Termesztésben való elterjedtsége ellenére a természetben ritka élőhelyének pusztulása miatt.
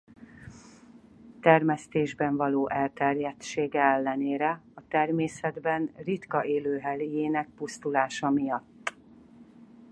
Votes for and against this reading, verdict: 0, 4, rejected